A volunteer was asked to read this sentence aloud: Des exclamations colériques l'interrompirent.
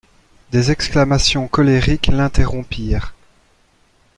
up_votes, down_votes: 2, 0